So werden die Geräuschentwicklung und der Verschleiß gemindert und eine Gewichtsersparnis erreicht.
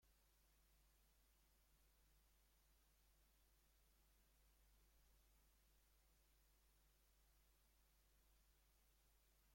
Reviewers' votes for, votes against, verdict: 0, 2, rejected